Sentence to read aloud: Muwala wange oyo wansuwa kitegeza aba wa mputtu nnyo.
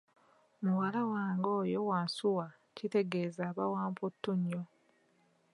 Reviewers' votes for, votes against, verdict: 2, 0, accepted